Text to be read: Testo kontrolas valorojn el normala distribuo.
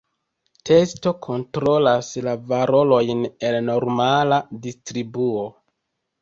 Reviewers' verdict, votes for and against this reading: rejected, 0, 2